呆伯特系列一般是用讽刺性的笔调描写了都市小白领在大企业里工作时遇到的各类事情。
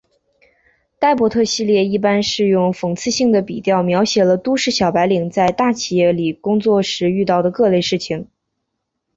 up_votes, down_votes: 2, 0